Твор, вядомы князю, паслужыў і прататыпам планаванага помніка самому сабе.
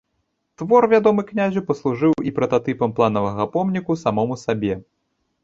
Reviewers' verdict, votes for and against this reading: rejected, 1, 2